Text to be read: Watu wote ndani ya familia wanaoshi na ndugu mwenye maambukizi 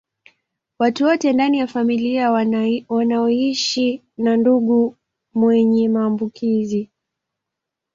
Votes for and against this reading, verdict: 0, 2, rejected